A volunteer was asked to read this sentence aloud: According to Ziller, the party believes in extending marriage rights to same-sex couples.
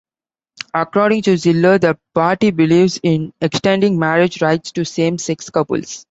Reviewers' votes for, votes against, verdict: 2, 0, accepted